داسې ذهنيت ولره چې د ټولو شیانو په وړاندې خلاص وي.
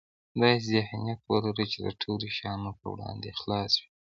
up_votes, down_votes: 2, 0